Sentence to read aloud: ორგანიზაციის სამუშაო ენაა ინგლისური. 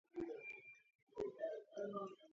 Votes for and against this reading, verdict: 0, 2, rejected